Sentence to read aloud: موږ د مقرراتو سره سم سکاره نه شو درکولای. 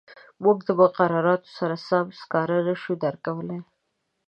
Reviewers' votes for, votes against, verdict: 2, 0, accepted